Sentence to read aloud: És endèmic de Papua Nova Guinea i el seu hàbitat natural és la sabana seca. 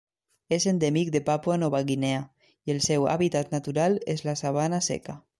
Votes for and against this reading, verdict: 3, 1, accepted